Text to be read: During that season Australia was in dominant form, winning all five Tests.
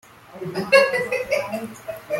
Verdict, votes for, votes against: rejected, 0, 2